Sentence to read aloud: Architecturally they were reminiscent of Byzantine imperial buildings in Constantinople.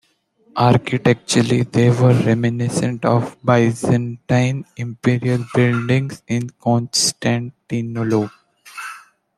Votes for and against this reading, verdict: 0, 2, rejected